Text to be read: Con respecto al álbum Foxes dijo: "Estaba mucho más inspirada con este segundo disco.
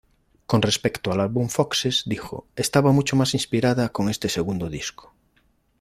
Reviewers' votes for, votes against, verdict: 2, 0, accepted